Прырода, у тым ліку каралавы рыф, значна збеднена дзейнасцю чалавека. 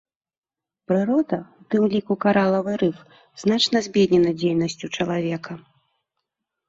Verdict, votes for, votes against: accepted, 2, 0